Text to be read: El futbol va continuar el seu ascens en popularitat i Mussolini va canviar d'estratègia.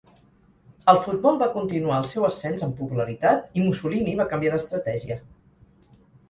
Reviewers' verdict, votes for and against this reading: accepted, 4, 0